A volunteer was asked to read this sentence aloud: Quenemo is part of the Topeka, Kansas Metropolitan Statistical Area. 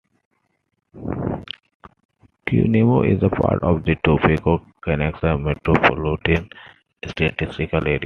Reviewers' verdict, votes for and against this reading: rejected, 0, 2